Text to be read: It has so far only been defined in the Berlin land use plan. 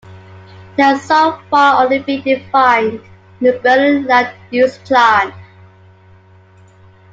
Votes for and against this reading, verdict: 2, 0, accepted